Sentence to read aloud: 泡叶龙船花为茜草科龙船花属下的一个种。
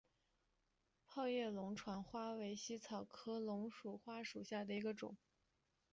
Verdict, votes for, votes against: rejected, 2, 3